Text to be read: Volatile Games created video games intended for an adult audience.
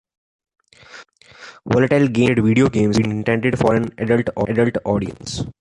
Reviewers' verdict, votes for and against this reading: rejected, 0, 2